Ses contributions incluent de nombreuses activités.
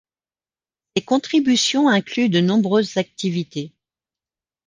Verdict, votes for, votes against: rejected, 0, 2